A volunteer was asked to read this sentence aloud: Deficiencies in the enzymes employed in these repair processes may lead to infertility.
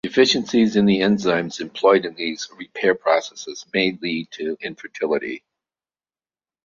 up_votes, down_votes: 2, 0